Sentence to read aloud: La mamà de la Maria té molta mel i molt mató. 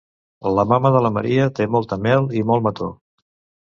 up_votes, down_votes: 1, 2